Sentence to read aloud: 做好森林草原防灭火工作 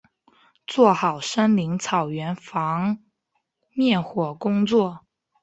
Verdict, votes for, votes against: accepted, 3, 0